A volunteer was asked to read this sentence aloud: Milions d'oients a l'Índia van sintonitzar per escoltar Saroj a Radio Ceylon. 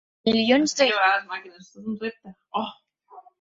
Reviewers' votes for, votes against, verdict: 0, 2, rejected